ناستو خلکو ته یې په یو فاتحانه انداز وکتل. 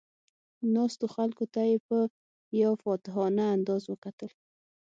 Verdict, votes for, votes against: accepted, 6, 0